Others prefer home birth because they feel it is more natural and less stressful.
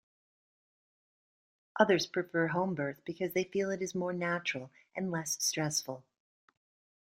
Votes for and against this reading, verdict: 2, 0, accepted